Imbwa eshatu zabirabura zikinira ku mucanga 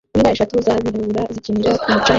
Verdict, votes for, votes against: rejected, 1, 2